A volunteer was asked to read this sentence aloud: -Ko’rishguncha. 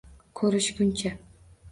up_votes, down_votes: 2, 0